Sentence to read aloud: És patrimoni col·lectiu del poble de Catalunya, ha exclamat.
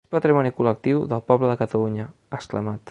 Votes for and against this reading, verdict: 1, 2, rejected